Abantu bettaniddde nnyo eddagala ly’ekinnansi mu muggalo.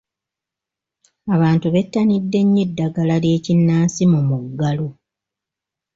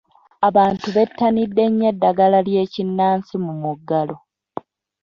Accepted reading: first